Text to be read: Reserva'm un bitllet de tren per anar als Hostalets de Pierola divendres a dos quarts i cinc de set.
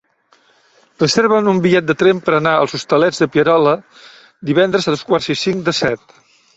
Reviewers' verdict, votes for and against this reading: rejected, 1, 2